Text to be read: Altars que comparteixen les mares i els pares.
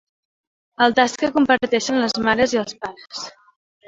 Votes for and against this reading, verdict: 2, 0, accepted